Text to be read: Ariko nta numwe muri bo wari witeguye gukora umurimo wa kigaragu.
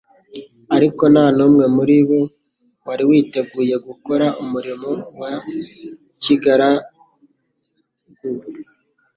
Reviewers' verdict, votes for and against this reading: rejected, 1, 2